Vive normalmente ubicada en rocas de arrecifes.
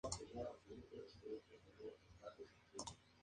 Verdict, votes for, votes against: rejected, 0, 2